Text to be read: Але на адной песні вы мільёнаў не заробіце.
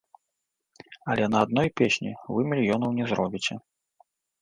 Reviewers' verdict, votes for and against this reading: rejected, 1, 2